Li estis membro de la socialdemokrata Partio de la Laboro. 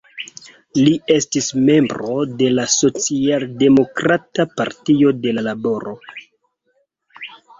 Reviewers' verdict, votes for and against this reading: accepted, 2, 0